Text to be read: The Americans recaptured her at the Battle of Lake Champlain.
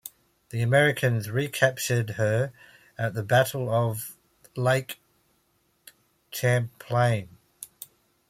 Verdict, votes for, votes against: accepted, 2, 1